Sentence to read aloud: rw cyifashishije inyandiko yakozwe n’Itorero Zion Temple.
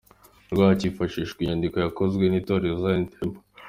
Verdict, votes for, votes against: accepted, 2, 0